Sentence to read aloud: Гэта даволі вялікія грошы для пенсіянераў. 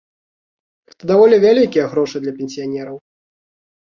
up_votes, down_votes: 1, 2